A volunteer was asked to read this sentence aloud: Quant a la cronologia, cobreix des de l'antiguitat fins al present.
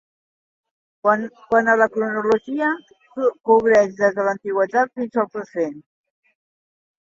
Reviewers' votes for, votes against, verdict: 0, 2, rejected